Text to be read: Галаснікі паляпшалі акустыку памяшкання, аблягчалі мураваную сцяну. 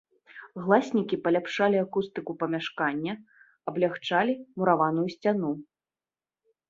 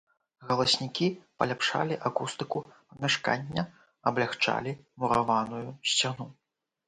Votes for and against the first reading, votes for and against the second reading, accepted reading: 0, 2, 2, 0, second